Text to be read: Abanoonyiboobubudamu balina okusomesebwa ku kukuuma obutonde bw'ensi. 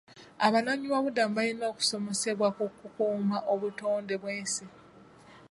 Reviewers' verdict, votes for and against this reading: accepted, 2, 0